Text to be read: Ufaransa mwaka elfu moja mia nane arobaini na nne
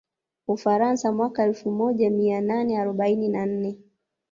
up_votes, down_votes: 2, 0